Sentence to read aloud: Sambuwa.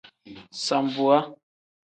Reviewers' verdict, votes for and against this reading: accepted, 2, 0